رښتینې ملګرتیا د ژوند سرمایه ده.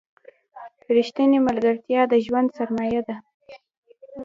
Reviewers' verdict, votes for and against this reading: rejected, 1, 2